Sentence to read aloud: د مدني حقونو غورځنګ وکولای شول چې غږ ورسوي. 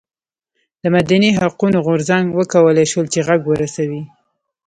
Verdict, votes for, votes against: rejected, 0, 2